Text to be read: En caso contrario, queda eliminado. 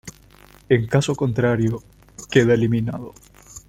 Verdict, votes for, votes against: accepted, 2, 0